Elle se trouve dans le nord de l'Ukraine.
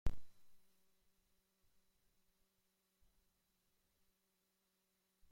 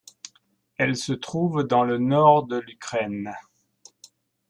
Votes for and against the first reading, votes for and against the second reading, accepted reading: 0, 2, 2, 1, second